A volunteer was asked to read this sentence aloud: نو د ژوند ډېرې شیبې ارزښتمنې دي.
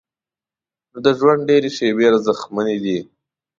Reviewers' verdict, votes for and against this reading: accepted, 2, 0